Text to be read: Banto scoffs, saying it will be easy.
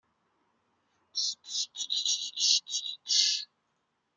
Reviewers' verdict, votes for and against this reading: rejected, 0, 2